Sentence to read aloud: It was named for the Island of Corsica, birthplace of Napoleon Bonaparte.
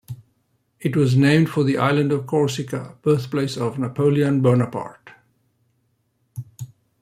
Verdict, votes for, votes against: rejected, 1, 2